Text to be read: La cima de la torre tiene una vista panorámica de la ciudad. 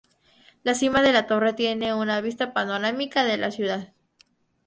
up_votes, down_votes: 2, 2